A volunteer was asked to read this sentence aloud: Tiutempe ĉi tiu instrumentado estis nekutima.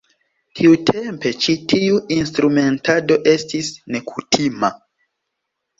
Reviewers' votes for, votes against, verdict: 2, 0, accepted